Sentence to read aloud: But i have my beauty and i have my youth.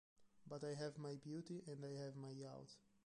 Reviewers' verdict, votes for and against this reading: rejected, 0, 3